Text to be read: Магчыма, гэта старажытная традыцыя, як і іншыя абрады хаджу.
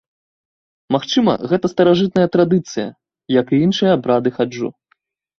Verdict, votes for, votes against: rejected, 1, 2